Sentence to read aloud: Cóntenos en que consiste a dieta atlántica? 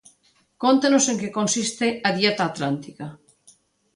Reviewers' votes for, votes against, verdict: 2, 0, accepted